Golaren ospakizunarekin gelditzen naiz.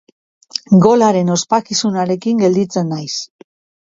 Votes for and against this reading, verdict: 2, 0, accepted